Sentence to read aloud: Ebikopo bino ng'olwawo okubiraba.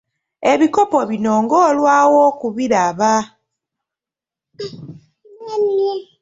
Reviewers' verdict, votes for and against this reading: rejected, 1, 2